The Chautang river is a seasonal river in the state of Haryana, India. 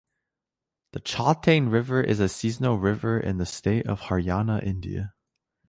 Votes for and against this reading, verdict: 2, 0, accepted